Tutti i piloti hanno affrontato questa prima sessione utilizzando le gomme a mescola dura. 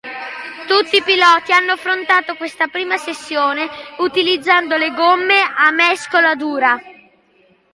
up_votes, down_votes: 2, 1